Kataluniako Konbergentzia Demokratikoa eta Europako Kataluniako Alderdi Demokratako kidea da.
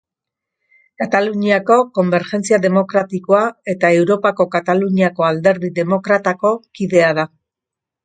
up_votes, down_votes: 2, 0